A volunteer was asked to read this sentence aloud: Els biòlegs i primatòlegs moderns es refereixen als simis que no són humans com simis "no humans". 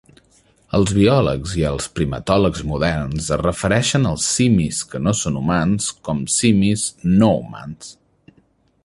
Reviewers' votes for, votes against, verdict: 0, 2, rejected